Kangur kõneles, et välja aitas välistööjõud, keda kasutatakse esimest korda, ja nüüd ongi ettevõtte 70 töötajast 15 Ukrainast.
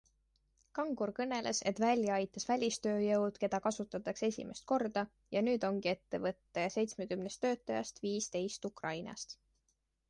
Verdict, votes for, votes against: rejected, 0, 2